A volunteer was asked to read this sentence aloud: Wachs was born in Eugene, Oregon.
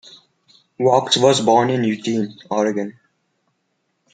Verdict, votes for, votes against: accepted, 2, 0